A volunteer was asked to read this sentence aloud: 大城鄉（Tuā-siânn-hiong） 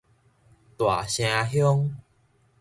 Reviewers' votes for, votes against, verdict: 2, 0, accepted